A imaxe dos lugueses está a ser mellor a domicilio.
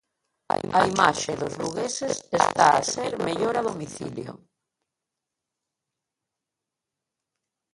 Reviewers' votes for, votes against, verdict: 0, 3, rejected